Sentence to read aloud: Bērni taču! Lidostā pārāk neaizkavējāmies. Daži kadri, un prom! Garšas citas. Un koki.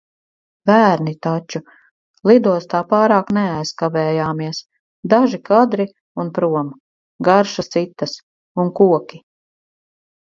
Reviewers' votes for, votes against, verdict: 4, 0, accepted